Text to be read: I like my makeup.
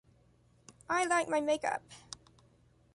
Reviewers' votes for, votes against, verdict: 2, 0, accepted